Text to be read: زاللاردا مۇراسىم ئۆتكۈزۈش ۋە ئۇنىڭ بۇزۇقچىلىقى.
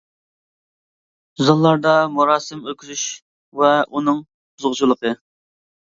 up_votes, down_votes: 0, 2